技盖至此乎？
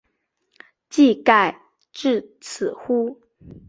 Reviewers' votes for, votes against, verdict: 7, 0, accepted